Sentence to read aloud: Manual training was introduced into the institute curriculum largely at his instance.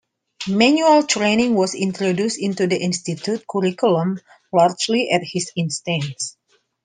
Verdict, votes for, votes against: accepted, 2, 0